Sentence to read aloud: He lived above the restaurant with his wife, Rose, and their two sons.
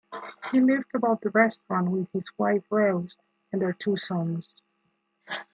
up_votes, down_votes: 1, 2